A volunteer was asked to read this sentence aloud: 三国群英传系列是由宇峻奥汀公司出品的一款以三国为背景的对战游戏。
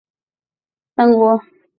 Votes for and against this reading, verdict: 0, 3, rejected